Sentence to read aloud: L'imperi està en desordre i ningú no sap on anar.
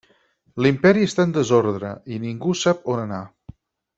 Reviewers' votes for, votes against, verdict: 2, 4, rejected